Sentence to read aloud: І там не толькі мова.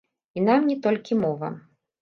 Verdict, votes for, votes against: rejected, 1, 2